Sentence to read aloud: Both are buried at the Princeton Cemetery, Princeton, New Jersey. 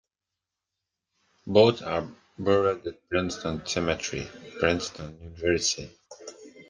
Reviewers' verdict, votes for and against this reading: rejected, 0, 2